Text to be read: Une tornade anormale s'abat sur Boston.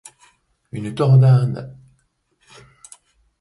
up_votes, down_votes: 1, 2